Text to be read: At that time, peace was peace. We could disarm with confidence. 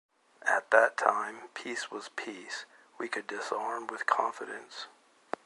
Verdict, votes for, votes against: accepted, 2, 0